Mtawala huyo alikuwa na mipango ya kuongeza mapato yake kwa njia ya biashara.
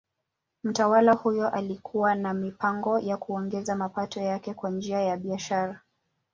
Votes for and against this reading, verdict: 2, 0, accepted